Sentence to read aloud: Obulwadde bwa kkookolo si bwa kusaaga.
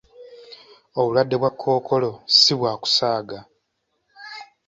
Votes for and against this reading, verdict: 2, 0, accepted